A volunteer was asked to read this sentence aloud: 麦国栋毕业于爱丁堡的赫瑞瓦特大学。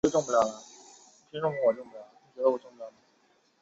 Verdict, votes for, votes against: rejected, 2, 3